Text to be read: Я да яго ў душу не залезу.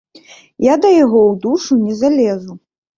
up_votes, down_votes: 1, 2